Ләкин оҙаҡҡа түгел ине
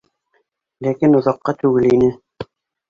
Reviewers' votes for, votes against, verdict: 0, 2, rejected